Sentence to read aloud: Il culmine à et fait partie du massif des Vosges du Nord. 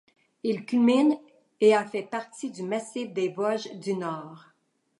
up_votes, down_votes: 2, 1